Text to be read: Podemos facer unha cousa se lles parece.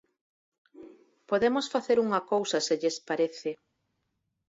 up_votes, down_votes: 4, 0